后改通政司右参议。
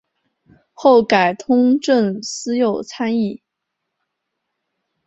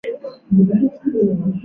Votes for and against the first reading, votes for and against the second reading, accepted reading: 2, 1, 3, 5, first